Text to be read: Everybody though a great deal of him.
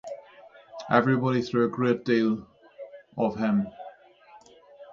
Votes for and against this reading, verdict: 3, 0, accepted